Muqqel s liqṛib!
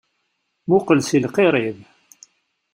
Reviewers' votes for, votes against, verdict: 1, 2, rejected